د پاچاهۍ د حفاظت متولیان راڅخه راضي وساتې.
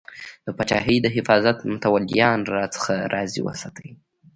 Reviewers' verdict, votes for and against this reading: rejected, 0, 2